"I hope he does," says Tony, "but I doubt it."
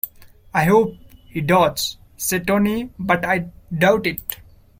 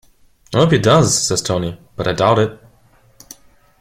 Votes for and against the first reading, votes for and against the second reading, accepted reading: 1, 2, 2, 0, second